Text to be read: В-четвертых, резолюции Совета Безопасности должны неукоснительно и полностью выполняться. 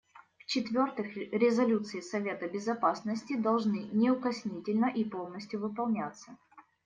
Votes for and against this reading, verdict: 1, 2, rejected